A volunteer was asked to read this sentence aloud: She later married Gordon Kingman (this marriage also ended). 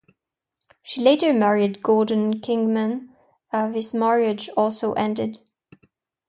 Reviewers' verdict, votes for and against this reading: rejected, 0, 2